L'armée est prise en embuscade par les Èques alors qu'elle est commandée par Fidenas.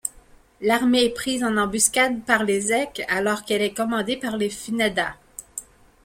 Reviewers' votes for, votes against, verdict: 0, 2, rejected